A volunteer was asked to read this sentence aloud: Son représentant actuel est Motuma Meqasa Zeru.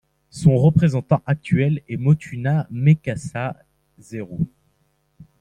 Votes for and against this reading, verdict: 2, 0, accepted